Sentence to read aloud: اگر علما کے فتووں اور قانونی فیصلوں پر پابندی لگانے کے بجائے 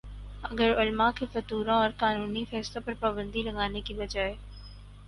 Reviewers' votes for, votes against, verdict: 2, 4, rejected